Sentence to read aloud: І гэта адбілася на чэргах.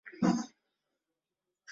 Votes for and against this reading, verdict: 0, 2, rejected